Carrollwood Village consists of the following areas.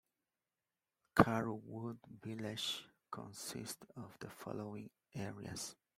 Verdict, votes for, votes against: rejected, 1, 2